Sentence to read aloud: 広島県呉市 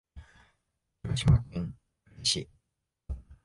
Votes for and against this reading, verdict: 0, 2, rejected